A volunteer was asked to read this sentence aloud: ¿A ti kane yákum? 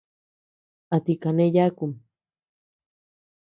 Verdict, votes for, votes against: accepted, 2, 0